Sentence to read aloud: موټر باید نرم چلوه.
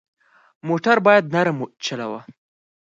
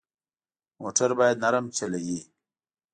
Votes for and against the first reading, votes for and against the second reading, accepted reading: 4, 0, 1, 2, first